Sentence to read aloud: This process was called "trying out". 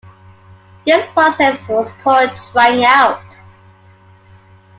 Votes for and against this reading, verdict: 2, 0, accepted